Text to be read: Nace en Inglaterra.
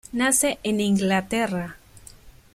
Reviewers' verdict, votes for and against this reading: accepted, 2, 0